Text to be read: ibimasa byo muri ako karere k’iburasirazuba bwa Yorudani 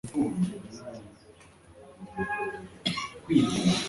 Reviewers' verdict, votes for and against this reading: rejected, 1, 2